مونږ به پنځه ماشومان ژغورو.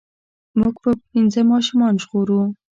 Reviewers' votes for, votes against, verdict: 2, 0, accepted